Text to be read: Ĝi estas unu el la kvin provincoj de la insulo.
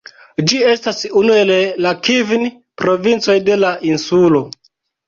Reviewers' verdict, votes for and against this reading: rejected, 0, 2